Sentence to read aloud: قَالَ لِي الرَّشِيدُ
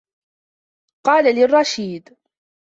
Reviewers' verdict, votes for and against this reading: accepted, 3, 0